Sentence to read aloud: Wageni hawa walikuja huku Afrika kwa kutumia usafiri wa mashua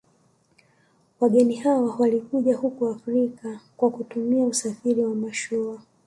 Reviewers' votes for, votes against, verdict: 2, 0, accepted